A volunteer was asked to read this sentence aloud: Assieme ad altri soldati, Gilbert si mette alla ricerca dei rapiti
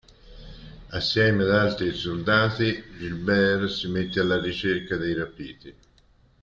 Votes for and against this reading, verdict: 1, 2, rejected